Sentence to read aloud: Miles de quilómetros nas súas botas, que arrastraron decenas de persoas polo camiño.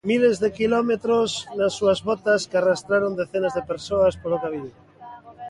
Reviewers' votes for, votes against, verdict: 2, 0, accepted